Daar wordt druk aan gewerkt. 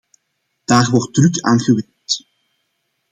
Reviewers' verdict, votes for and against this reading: rejected, 1, 2